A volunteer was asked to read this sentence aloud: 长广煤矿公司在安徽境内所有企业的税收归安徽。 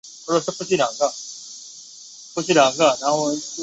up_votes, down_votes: 0, 3